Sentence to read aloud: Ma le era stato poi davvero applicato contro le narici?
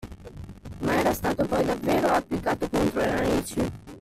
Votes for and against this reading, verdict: 0, 2, rejected